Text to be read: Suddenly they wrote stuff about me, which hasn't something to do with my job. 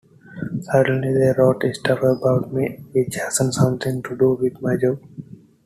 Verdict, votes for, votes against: accepted, 2, 1